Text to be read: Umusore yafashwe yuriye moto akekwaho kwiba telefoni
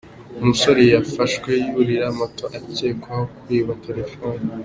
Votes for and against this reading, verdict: 2, 0, accepted